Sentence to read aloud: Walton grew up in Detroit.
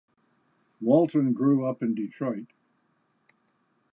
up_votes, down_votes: 2, 0